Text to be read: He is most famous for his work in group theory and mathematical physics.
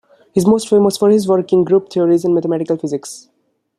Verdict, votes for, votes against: accepted, 2, 1